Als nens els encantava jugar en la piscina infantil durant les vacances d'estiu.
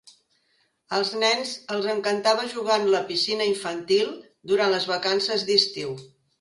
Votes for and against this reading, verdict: 3, 0, accepted